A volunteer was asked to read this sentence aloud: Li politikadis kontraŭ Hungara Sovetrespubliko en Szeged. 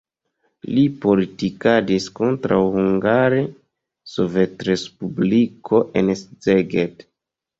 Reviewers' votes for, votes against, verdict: 0, 3, rejected